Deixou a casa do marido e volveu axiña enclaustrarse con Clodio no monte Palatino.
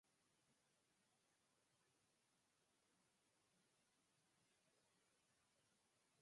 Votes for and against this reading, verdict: 0, 4, rejected